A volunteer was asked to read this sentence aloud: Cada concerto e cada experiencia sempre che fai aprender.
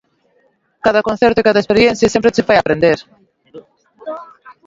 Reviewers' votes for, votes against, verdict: 2, 3, rejected